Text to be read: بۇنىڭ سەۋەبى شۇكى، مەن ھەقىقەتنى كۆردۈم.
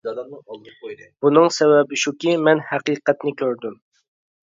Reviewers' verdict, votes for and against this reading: rejected, 0, 2